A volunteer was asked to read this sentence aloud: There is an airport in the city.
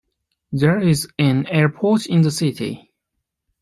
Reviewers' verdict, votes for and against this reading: accepted, 2, 0